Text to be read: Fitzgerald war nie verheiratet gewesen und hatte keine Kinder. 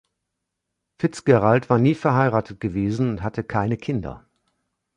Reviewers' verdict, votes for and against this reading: accepted, 2, 0